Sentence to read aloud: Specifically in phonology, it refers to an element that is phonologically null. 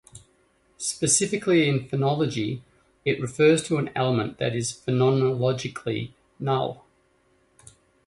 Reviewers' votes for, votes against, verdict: 2, 1, accepted